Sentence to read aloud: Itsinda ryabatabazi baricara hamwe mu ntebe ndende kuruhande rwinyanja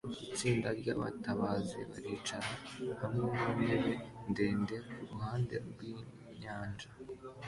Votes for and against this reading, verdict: 2, 0, accepted